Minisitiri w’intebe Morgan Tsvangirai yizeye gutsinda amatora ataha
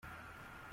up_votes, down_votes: 0, 2